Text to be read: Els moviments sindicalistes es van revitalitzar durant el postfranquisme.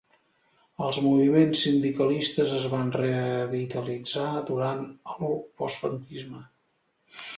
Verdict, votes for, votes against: rejected, 1, 2